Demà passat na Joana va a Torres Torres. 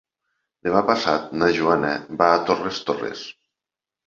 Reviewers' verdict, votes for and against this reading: accepted, 2, 0